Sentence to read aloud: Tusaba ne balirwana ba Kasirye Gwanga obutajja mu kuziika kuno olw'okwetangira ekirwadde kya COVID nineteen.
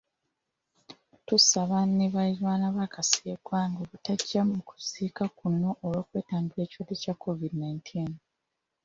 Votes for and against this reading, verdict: 2, 0, accepted